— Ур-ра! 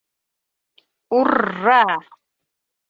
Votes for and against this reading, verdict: 2, 0, accepted